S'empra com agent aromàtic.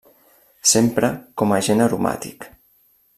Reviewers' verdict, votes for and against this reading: accepted, 2, 0